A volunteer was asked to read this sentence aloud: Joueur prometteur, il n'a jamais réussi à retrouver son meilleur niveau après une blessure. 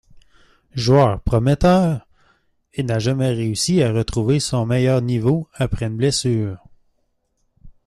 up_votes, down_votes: 2, 0